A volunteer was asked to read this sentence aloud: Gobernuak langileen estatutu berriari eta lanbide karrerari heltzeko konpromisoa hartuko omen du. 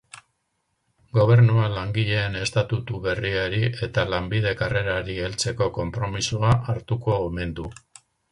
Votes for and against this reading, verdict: 2, 2, rejected